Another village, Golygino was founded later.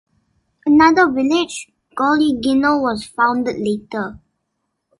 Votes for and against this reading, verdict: 2, 0, accepted